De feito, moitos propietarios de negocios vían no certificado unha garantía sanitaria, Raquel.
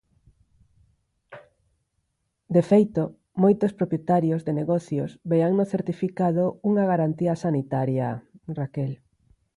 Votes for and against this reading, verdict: 0, 4, rejected